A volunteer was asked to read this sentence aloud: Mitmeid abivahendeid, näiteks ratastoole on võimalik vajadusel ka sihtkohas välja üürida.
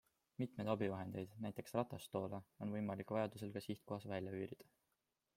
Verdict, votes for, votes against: accepted, 2, 0